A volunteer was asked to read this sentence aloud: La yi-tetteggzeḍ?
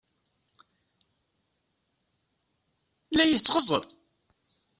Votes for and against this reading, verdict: 1, 2, rejected